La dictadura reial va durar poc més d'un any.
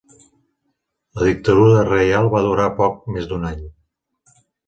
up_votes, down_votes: 2, 0